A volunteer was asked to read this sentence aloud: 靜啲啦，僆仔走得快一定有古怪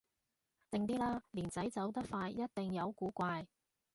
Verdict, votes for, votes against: rejected, 0, 2